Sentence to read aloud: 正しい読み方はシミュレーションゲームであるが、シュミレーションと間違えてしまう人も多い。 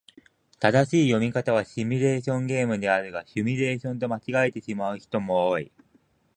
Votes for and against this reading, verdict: 3, 0, accepted